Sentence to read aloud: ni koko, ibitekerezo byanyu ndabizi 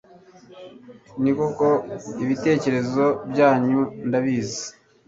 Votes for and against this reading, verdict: 2, 0, accepted